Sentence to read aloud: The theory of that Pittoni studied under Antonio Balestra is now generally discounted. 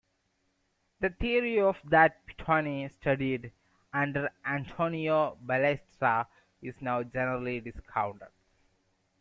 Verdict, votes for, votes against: accepted, 2, 1